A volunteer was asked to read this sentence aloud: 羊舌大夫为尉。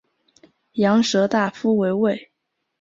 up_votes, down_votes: 2, 1